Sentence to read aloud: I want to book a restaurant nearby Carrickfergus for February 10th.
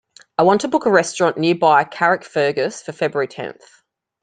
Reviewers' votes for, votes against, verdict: 0, 2, rejected